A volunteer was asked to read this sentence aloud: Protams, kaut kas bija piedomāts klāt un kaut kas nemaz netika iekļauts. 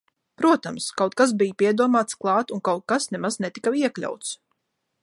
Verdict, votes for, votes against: rejected, 1, 2